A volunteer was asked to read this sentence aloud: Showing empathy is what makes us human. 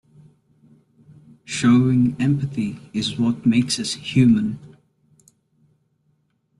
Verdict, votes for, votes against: accepted, 2, 1